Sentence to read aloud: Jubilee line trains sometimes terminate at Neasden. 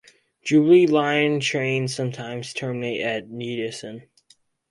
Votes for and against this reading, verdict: 0, 4, rejected